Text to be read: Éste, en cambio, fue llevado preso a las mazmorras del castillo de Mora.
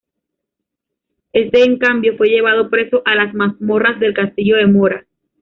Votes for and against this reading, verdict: 2, 1, accepted